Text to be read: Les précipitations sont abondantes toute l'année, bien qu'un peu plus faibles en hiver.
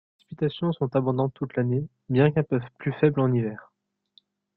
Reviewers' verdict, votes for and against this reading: rejected, 0, 2